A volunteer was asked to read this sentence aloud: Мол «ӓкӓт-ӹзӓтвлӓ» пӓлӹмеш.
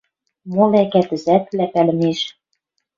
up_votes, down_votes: 1, 2